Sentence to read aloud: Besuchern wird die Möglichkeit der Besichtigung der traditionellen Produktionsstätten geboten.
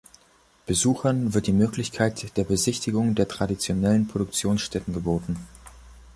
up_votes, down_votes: 5, 0